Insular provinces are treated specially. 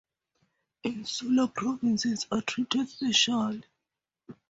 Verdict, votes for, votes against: rejected, 2, 2